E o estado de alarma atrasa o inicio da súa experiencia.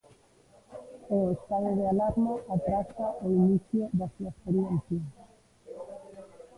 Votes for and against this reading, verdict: 0, 2, rejected